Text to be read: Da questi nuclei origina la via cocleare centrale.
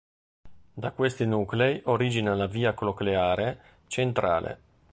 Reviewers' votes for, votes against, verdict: 1, 2, rejected